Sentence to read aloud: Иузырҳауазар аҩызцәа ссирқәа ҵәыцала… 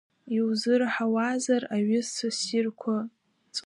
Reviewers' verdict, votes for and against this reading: rejected, 0, 2